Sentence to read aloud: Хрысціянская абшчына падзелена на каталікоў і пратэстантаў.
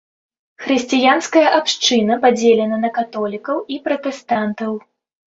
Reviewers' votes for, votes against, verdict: 2, 1, accepted